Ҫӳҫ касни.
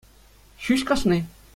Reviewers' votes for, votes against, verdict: 2, 1, accepted